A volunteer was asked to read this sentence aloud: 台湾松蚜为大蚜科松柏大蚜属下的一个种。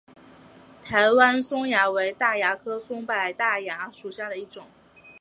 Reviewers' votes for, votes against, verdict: 1, 2, rejected